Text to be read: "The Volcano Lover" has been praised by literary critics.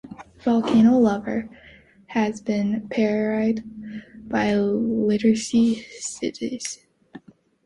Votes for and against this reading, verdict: 1, 2, rejected